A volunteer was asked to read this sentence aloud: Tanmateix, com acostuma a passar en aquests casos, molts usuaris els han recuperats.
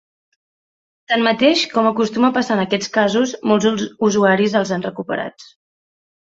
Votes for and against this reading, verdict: 0, 2, rejected